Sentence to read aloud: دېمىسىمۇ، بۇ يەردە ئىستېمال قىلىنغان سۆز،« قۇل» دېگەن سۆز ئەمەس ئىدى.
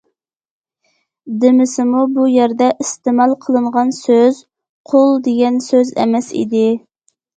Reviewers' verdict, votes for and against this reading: accepted, 2, 0